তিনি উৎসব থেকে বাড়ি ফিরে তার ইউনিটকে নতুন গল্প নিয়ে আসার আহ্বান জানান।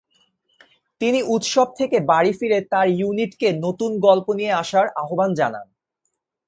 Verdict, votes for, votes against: accepted, 14, 0